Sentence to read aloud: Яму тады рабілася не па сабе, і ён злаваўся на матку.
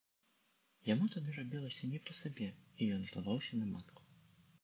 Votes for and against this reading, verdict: 1, 2, rejected